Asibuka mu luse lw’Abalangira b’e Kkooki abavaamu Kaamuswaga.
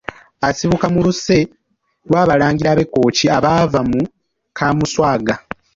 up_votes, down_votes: 2, 0